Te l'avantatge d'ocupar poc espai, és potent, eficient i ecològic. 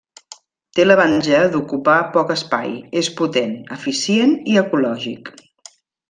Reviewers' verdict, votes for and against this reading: rejected, 0, 2